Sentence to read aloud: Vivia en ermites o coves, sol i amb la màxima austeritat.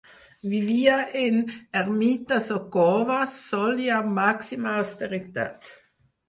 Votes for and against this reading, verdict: 0, 4, rejected